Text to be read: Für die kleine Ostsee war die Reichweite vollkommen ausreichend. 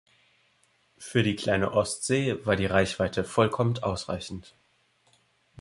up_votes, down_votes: 0, 2